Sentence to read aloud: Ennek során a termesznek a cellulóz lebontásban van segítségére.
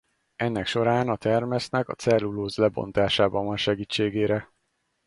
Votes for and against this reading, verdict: 2, 4, rejected